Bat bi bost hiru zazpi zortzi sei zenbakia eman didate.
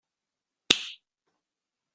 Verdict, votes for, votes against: rejected, 0, 2